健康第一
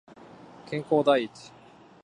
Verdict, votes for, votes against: accepted, 3, 0